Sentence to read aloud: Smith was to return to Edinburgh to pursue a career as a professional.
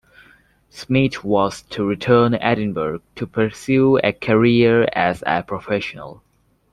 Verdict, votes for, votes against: rejected, 0, 2